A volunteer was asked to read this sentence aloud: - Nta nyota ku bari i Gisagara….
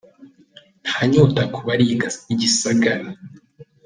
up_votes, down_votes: 1, 2